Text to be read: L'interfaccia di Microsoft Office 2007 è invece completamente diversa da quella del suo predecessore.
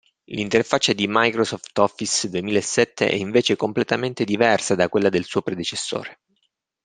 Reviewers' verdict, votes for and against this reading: rejected, 0, 2